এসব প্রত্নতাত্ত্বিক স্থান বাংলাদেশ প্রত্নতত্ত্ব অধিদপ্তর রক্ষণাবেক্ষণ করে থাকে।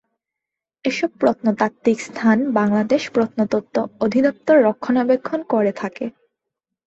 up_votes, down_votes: 2, 0